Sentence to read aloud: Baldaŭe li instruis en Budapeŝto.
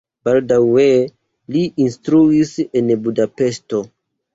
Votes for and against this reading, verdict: 2, 0, accepted